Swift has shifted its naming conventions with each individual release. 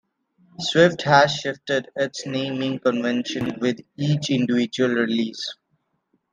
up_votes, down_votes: 0, 2